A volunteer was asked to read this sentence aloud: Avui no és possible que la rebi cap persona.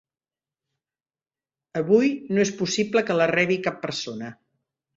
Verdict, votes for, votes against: accepted, 2, 0